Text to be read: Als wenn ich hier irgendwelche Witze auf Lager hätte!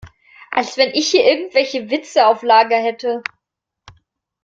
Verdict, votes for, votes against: accepted, 2, 0